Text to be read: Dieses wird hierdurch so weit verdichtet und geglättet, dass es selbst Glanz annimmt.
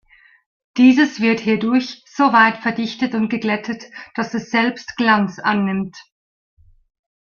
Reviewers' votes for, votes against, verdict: 2, 0, accepted